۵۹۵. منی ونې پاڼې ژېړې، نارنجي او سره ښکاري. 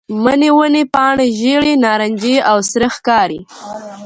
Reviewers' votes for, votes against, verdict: 0, 2, rejected